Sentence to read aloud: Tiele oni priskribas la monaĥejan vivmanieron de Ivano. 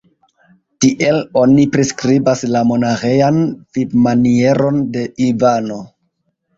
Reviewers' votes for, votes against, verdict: 1, 2, rejected